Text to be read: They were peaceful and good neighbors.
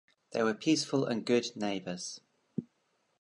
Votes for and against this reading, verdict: 3, 1, accepted